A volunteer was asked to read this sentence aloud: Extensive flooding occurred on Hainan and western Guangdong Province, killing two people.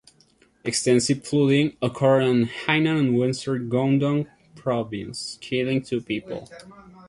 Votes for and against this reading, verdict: 0, 2, rejected